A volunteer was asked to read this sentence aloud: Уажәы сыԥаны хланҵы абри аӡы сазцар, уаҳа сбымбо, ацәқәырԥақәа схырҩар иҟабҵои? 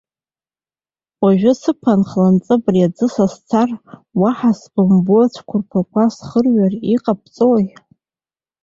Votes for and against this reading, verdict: 1, 2, rejected